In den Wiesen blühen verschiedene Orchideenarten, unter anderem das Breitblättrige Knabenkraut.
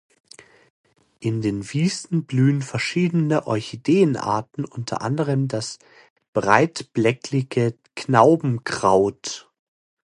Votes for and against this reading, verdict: 0, 2, rejected